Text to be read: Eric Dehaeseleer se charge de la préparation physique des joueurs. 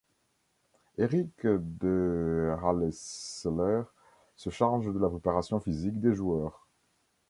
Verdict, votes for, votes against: rejected, 0, 3